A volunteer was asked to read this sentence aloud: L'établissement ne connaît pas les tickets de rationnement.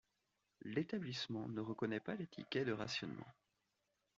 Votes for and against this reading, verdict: 0, 2, rejected